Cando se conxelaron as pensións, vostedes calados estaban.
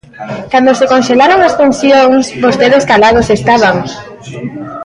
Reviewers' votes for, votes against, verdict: 1, 2, rejected